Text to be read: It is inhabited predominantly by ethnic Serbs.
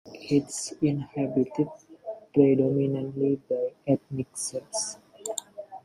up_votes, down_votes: 2, 0